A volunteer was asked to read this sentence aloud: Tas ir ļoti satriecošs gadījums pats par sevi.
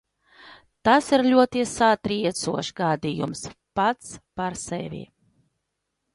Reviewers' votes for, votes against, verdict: 2, 0, accepted